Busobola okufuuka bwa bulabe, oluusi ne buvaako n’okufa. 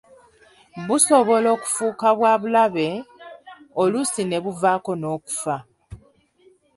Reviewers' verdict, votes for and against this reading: accepted, 2, 1